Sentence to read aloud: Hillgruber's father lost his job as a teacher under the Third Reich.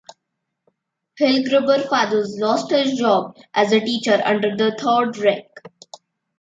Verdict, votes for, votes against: rejected, 0, 2